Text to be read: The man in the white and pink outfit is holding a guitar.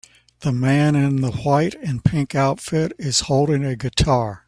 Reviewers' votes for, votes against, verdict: 2, 0, accepted